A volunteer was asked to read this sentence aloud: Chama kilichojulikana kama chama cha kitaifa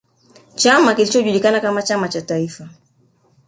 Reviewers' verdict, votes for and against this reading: rejected, 1, 2